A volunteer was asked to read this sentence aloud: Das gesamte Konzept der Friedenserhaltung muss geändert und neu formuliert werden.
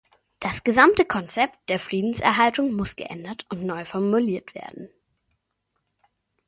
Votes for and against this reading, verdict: 2, 0, accepted